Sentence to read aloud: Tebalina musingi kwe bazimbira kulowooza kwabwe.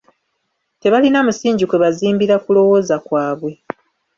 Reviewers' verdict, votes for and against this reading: rejected, 0, 2